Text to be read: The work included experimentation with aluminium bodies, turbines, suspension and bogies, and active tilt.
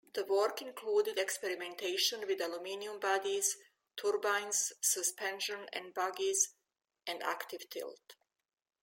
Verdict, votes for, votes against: accepted, 2, 0